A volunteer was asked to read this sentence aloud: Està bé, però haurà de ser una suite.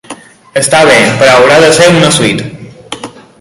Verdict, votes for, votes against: accepted, 2, 0